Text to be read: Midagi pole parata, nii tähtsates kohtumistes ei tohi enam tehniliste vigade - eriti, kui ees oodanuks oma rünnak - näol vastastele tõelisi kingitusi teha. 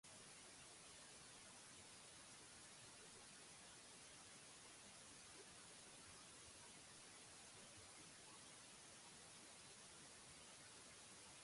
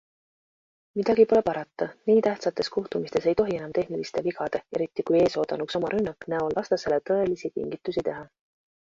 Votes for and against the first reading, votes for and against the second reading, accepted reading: 0, 2, 2, 1, second